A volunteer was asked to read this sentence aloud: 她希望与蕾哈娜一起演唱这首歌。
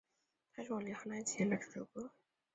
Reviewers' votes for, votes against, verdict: 0, 2, rejected